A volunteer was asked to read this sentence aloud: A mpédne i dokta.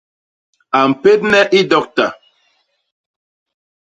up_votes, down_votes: 2, 0